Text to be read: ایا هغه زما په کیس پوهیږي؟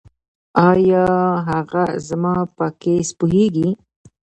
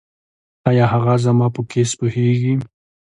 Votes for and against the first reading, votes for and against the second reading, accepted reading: 1, 2, 2, 0, second